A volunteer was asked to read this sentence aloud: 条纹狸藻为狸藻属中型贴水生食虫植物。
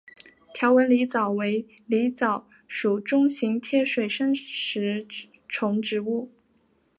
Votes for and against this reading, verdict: 3, 1, accepted